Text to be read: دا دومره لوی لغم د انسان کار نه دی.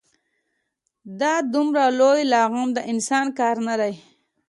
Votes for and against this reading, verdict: 3, 0, accepted